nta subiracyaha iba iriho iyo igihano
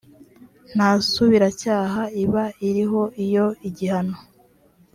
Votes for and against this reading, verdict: 2, 0, accepted